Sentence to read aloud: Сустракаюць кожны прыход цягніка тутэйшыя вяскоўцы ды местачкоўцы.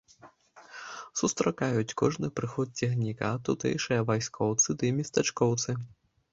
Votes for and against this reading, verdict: 1, 2, rejected